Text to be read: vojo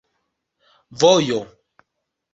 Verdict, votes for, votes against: accepted, 2, 0